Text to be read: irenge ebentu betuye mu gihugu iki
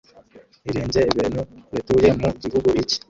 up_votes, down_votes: 0, 2